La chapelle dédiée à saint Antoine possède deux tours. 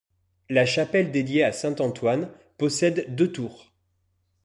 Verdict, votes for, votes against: accepted, 2, 0